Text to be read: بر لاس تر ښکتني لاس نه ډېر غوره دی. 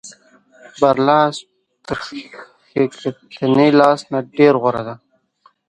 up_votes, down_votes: 1, 2